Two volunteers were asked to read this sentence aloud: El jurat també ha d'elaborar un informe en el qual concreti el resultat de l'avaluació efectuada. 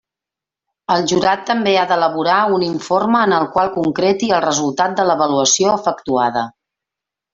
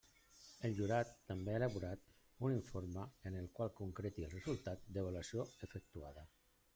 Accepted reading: first